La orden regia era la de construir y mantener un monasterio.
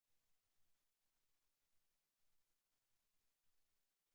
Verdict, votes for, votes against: rejected, 0, 2